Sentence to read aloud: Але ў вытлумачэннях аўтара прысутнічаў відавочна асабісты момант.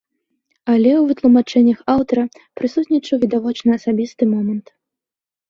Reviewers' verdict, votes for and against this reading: accepted, 2, 0